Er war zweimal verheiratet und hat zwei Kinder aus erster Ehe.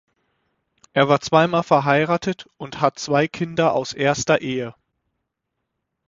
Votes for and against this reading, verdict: 6, 0, accepted